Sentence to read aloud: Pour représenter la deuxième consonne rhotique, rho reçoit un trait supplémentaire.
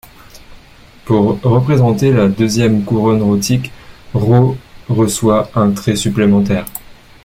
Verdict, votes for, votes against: rejected, 1, 2